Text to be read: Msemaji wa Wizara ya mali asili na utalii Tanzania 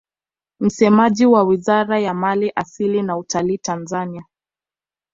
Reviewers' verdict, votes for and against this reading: accepted, 2, 0